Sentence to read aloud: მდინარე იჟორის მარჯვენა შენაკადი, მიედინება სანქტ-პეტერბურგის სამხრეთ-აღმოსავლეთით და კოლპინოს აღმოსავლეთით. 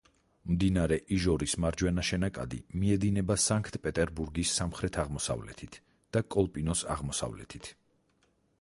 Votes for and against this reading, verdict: 4, 0, accepted